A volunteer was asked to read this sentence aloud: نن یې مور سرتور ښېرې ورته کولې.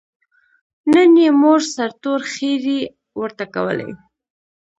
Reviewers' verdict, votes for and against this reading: rejected, 0, 2